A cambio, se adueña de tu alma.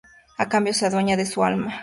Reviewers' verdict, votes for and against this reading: rejected, 0, 2